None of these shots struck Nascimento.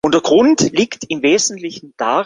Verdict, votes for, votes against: rejected, 1, 2